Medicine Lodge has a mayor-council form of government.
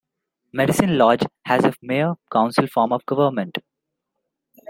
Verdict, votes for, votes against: accepted, 2, 0